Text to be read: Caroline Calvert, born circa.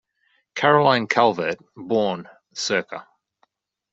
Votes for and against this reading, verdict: 2, 0, accepted